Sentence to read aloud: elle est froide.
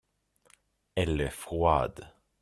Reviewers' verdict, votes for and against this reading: accepted, 2, 1